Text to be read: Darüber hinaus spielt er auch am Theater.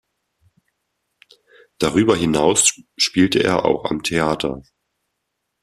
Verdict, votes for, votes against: rejected, 1, 2